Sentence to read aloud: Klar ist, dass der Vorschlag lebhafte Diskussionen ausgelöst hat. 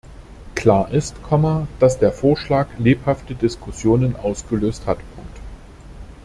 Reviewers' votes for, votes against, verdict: 0, 2, rejected